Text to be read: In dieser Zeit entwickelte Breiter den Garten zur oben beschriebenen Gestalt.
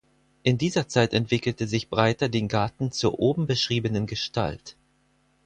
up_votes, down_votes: 0, 4